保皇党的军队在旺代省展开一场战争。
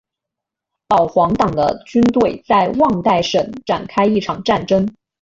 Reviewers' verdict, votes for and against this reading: accepted, 2, 0